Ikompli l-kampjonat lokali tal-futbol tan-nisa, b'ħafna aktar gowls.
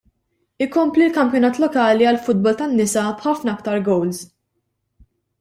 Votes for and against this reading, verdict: 0, 2, rejected